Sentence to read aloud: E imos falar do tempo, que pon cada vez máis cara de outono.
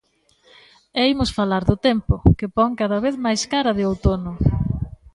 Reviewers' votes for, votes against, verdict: 2, 0, accepted